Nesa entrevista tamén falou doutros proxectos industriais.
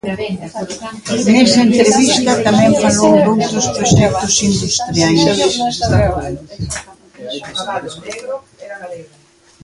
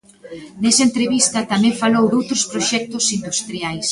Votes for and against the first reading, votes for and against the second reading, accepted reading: 0, 2, 7, 3, second